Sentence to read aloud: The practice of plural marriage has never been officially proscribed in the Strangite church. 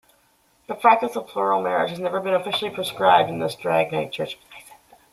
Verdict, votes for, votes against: rejected, 0, 2